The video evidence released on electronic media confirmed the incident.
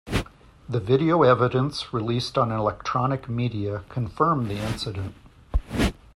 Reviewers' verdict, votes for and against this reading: accepted, 2, 0